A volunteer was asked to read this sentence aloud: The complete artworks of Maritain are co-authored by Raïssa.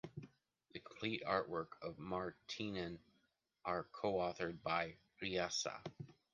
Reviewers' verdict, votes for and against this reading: rejected, 0, 2